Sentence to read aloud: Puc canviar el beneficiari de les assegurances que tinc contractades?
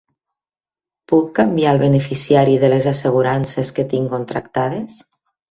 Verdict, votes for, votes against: accepted, 3, 0